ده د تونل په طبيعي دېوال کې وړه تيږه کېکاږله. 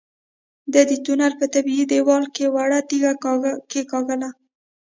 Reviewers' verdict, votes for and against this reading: accepted, 3, 0